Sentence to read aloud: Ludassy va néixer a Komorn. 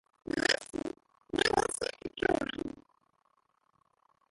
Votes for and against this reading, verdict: 0, 3, rejected